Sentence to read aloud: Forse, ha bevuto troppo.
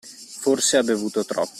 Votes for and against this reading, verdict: 0, 2, rejected